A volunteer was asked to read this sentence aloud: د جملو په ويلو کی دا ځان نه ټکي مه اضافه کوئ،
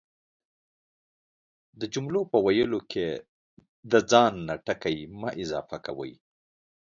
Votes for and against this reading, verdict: 2, 1, accepted